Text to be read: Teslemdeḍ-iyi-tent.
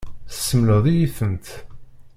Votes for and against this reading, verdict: 0, 2, rejected